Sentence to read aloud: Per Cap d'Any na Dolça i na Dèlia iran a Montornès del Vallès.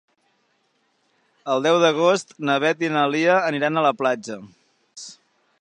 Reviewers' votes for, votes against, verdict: 0, 3, rejected